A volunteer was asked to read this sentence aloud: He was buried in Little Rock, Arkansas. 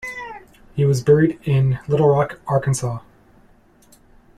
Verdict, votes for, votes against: accepted, 2, 0